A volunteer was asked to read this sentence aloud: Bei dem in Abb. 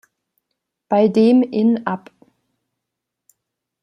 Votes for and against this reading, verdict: 1, 2, rejected